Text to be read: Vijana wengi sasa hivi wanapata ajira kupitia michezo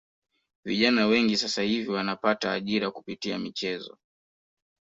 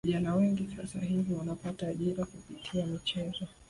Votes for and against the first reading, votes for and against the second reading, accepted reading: 2, 0, 4, 5, first